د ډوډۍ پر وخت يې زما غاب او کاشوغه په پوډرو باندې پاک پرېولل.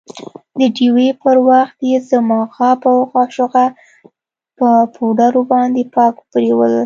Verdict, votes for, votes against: rejected, 0, 2